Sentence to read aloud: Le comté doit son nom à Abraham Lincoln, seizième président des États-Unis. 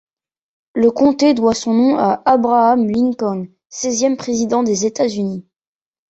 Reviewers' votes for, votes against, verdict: 2, 0, accepted